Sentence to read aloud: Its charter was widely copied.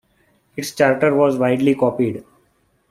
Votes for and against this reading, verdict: 1, 2, rejected